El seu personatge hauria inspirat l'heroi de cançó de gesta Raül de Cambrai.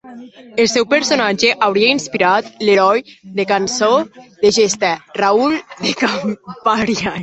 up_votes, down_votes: 1, 2